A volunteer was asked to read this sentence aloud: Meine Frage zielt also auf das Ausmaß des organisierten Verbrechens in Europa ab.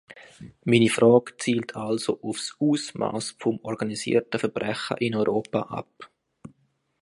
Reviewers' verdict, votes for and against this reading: rejected, 0, 2